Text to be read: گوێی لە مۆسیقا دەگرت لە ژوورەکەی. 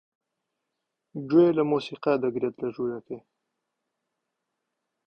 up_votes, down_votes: 2, 1